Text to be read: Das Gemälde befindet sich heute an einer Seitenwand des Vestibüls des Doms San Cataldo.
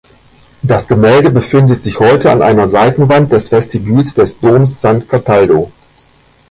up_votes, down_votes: 2, 1